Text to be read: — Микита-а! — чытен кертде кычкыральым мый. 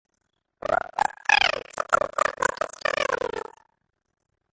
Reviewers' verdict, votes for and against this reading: rejected, 0, 2